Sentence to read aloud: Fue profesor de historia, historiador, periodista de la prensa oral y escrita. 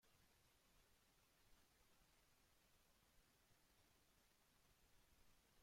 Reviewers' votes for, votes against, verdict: 0, 2, rejected